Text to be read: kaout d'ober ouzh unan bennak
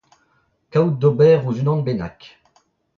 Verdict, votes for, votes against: rejected, 0, 2